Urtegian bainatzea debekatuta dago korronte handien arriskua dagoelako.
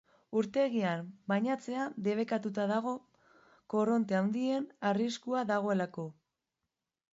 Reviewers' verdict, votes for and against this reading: accepted, 4, 0